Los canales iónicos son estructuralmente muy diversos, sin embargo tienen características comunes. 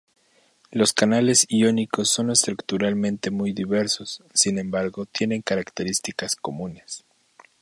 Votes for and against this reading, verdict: 4, 0, accepted